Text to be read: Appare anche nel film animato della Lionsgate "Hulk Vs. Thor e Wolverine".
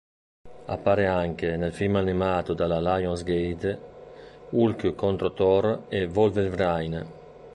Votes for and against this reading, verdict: 1, 2, rejected